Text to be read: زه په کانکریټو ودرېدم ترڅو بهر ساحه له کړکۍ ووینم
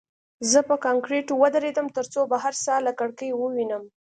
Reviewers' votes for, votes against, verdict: 2, 1, accepted